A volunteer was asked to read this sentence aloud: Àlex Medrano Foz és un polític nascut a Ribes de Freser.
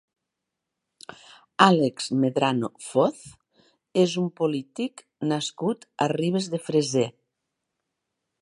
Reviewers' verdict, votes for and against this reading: accepted, 3, 0